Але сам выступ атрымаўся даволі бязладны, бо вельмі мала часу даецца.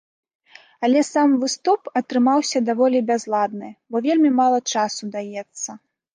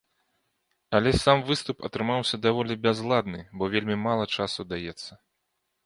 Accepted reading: second